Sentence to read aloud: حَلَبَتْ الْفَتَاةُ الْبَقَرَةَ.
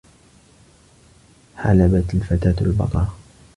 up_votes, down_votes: 2, 0